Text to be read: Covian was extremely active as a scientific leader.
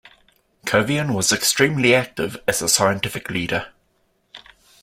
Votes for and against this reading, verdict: 2, 0, accepted